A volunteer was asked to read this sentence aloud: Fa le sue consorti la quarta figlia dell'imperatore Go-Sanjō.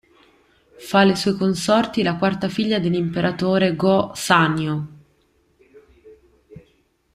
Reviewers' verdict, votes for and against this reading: rejected, 0, 2